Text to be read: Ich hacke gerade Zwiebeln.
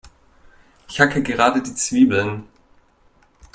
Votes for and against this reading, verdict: 1, 2, rejected